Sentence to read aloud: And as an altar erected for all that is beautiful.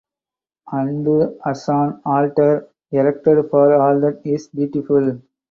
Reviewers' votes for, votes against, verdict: 2, 0, accepted